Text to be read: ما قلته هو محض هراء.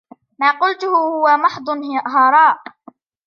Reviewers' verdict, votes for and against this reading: rejected, 1, 2